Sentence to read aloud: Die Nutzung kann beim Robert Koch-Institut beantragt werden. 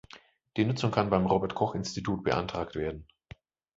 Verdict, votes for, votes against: accepted, 2, 0